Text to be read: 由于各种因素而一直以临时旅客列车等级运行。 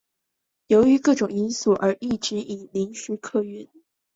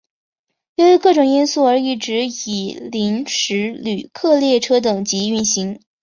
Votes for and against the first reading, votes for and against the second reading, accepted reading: 1, 2, 2, 0, second